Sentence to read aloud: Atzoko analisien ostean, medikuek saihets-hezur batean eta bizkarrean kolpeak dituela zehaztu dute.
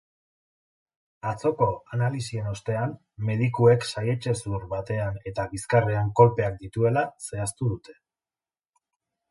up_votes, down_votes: 4, 0